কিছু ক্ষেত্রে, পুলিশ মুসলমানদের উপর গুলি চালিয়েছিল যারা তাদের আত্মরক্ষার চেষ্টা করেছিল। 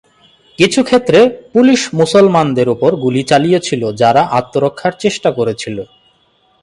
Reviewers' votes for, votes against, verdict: 2, 2, rejected